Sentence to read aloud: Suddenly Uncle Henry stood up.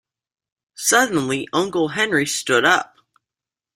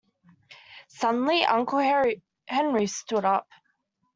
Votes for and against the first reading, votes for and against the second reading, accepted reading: 2, 0, 0, 2, first